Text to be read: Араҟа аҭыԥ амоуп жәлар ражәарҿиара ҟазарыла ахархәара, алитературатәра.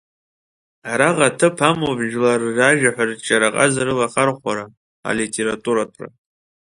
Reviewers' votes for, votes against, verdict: 0, 2, rejected